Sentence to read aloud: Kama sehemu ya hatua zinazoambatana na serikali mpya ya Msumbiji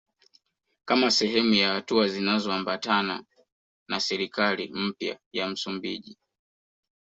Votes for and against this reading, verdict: 2, 0, accepted